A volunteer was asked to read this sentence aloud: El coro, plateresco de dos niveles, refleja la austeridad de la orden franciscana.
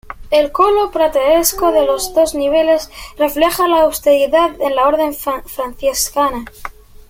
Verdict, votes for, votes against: rejected, 0, 2